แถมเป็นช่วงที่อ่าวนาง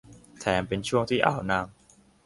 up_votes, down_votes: 3, 0